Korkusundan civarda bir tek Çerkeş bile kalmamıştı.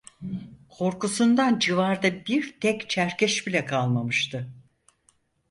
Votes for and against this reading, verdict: 6, 0, accepted